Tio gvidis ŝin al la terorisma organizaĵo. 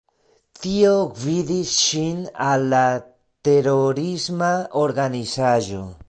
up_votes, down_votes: 0, 2